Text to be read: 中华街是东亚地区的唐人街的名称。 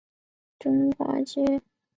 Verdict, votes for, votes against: rejected, 0, 4